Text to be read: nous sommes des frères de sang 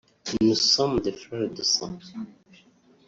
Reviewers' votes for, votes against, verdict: 1, 2, rejected